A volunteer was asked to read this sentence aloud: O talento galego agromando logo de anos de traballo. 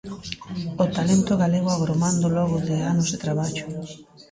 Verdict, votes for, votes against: accepted, 2, 1